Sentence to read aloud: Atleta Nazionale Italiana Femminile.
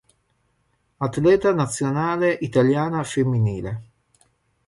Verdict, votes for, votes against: accepted, 4, 0